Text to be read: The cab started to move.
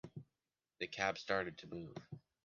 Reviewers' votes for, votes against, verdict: 3, 0, accepted